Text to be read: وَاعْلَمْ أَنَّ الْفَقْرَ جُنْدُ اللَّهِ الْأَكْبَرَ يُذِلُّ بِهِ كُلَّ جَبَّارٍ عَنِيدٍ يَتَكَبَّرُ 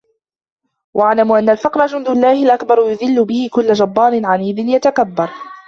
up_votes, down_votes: 0, 2